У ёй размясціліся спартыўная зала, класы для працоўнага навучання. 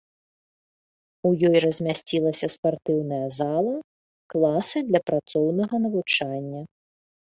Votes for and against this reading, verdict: 1, 2, rejected